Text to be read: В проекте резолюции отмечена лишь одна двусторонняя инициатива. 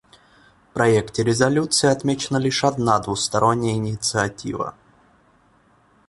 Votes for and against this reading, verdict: 1, 2, rejected